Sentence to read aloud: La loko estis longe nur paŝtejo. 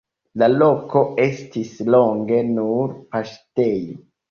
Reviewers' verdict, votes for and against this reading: accepted, 2, 1